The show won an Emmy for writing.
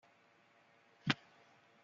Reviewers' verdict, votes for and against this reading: rejected, 0, 2